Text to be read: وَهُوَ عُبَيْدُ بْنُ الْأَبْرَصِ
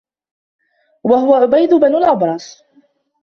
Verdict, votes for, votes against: rejected, 0, 2